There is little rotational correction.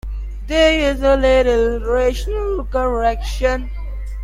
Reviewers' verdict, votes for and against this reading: rejected, 0, 2